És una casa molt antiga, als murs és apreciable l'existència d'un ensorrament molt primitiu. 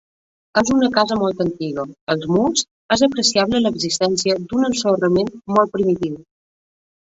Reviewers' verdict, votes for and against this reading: rejected, 0, 2